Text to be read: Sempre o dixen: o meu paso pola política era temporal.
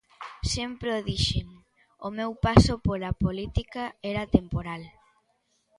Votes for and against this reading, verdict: 2, 0, accepted